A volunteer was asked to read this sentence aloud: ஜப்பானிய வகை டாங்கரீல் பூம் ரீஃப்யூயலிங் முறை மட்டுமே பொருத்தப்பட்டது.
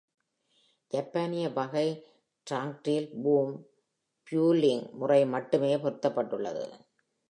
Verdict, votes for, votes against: accepted, 2, 0